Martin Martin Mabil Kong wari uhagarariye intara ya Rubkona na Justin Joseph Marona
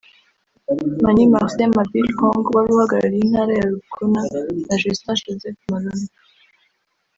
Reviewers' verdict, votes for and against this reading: rejected, 1, 2